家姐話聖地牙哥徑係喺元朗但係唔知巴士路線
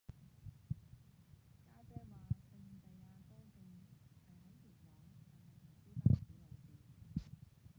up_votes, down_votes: 0, 3